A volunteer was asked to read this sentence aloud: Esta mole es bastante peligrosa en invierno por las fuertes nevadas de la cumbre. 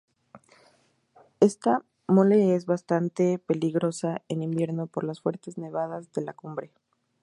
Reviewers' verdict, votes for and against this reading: accepted, 2, 0